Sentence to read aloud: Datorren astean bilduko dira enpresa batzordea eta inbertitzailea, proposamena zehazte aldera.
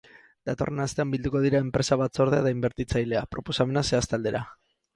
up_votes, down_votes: 2, 4